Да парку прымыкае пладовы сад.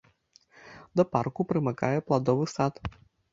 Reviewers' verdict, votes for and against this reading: accepted, 2, 1